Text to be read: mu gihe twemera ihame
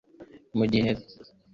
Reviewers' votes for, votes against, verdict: 0, 2, rejected